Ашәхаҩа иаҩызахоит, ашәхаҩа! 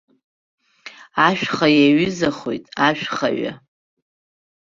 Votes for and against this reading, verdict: 0, 2, rejected